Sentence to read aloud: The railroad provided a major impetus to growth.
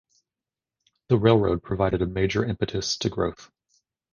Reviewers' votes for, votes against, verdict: 2, 0, accepted